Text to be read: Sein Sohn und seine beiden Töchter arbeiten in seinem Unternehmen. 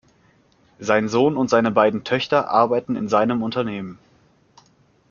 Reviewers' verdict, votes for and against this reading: accepted, 2, 0